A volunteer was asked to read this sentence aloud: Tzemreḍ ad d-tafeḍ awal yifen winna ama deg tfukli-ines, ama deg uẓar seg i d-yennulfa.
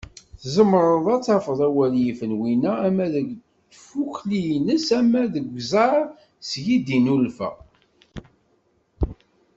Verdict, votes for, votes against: rejected, 0, 2